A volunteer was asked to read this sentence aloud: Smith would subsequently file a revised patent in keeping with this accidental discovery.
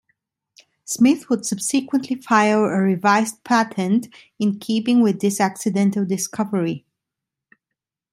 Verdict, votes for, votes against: accepted, 2, 0